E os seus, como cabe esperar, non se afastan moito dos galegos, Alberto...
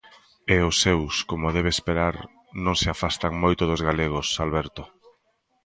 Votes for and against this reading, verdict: 0, 2, rejected